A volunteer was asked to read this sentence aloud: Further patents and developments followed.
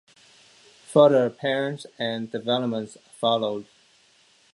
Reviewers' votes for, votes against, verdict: 0, 2, rejected